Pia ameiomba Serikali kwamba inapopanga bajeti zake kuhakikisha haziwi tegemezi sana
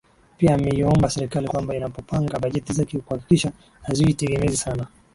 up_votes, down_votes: 30, 3